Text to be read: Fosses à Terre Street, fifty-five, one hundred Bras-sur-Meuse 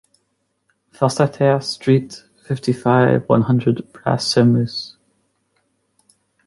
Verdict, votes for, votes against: accepted, 2, 0